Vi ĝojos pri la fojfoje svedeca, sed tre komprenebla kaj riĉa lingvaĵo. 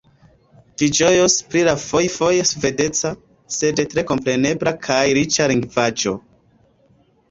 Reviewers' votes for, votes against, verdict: 2, 1, accepted